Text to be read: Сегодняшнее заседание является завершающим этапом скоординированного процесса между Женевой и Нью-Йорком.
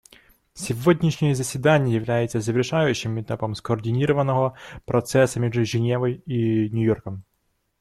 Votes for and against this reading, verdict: 2, 0, accepted